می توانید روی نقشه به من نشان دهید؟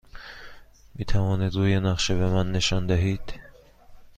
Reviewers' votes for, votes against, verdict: 2, 0, accepted